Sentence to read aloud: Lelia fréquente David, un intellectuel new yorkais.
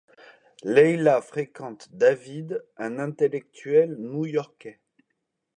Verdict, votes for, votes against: rejected, 1, 2